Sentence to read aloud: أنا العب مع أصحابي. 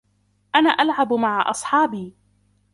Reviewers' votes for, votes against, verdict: 0, 2, rejected